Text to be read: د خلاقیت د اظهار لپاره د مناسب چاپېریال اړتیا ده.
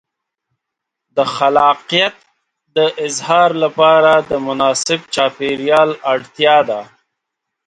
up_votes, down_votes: 2, 0